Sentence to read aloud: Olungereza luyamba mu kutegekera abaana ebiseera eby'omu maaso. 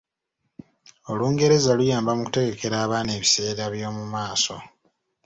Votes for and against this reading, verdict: 2, 0, accepted